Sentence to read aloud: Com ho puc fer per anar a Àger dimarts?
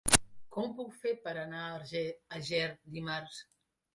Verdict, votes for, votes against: rejected, 0, 2